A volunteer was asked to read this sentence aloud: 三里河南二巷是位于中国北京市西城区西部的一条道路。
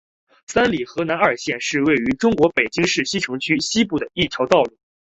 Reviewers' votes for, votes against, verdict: 2, 0, accepted